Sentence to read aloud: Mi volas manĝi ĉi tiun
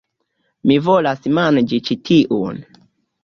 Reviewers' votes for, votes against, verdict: 1, 2, rejected